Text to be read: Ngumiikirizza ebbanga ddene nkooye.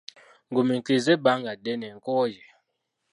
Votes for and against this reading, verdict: 1, 2, rejected